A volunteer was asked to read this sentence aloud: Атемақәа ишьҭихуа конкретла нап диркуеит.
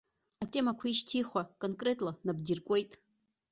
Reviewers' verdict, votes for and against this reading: accepted, 2, 0